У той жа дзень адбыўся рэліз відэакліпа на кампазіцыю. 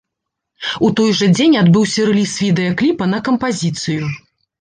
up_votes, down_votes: 2, 0